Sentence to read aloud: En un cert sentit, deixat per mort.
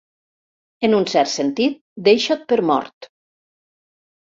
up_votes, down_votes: 0, 2